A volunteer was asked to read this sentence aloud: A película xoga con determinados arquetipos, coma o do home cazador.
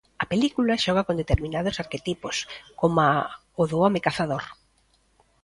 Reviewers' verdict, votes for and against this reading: accepted, 2, 0